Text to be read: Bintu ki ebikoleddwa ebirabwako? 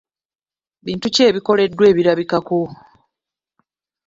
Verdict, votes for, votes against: rejected, 1, 2